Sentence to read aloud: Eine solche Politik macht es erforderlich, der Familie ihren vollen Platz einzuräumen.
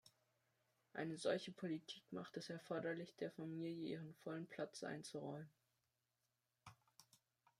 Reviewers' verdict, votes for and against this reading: rejected, 1, 2